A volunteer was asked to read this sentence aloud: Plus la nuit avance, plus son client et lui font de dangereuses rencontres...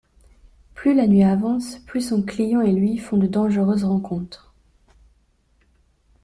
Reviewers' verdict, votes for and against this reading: accepted, 2, 0